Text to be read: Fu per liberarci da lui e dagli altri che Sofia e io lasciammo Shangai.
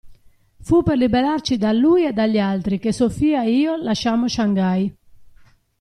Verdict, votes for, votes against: accepted, 2, 0